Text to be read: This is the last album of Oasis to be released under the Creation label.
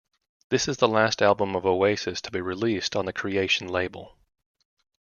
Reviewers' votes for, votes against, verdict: 0, 2, rejected